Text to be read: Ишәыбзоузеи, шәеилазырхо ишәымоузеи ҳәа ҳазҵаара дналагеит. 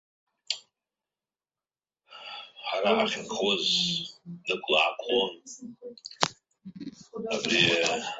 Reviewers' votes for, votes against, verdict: 0, 3, rejected